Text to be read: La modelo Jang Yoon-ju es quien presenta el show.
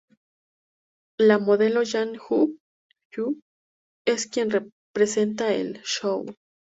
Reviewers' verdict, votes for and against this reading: rejected, 0, 2